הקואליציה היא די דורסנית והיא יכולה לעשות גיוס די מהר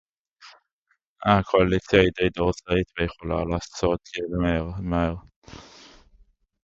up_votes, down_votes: 0, 2